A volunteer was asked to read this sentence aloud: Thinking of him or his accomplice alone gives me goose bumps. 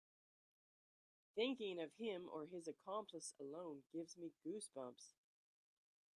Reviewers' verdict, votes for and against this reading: rejected, 1, 2